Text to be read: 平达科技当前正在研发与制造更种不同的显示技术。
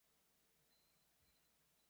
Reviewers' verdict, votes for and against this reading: rejected, 0, 2